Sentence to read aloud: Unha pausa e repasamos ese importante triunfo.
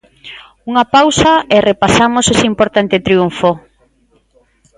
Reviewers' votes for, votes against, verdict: 2, 0, accepted